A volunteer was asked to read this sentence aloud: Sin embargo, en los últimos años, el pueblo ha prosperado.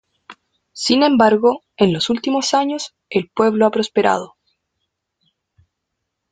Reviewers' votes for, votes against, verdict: 2, 0, accepted